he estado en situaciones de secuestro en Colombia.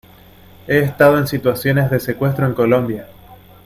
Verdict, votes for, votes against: accepted, 2, 0